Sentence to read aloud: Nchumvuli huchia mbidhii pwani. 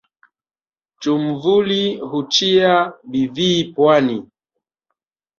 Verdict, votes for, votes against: accepted, 3, 2